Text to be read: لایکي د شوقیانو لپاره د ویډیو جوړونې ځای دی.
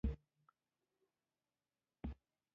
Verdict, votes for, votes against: rejected, 0, 2